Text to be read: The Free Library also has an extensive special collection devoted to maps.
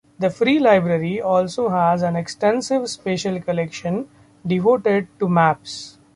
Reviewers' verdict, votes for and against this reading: accepted, 2, 0